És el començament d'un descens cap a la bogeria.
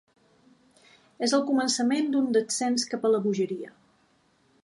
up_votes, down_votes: 3, 0